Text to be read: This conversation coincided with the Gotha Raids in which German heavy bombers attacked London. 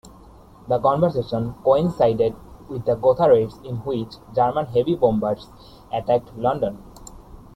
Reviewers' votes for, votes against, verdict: 2, 1, accepted